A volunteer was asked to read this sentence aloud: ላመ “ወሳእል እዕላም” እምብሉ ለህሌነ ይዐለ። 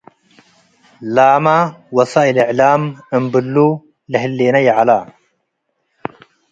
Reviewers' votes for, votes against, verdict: 3, 0, accepted